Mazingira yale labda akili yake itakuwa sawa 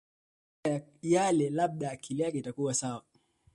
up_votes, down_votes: 2, 1